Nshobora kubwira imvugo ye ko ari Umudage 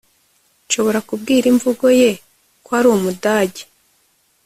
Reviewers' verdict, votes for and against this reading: accepted, 2, 0